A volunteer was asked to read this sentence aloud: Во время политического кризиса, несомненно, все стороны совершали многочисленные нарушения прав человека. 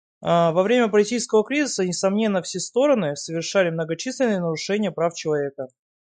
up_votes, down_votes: 0, 2